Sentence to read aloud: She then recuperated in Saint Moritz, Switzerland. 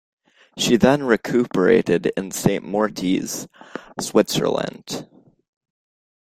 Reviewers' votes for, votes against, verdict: 1, 2, rejected